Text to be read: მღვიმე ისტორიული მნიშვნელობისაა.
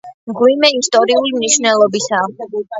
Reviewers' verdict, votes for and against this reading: accepted, 2, 1